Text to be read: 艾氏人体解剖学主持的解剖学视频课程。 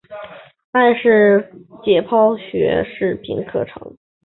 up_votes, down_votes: 1, 2